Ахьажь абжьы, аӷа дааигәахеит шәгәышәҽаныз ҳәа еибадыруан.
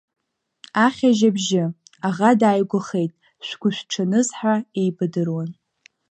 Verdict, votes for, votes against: accepted, 2, 0